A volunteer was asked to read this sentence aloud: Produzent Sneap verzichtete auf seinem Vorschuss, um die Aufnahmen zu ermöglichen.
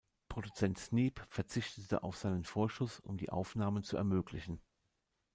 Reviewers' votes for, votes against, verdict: 1, 2, rejected